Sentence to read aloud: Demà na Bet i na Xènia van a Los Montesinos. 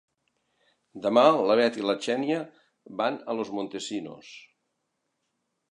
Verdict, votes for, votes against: rejected, 1, 2